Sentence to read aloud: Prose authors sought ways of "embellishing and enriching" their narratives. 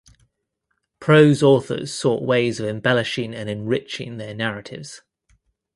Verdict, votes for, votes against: accepted, 2, 0